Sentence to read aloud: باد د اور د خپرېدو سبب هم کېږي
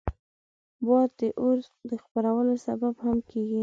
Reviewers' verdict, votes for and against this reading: rejected, 1, 2